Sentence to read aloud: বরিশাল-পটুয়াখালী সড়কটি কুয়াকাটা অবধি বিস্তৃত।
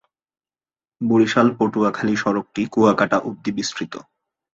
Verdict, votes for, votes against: accepted, 3, 1